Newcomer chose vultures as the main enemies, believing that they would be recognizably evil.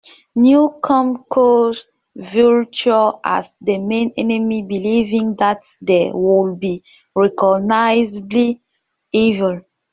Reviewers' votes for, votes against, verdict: 0, 2, rejected